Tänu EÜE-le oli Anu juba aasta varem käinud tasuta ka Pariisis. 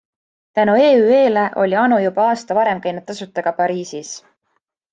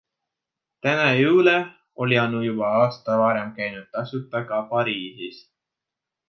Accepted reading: first